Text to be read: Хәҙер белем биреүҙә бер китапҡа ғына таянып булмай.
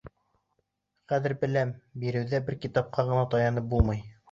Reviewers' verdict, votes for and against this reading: rejected, 1, 2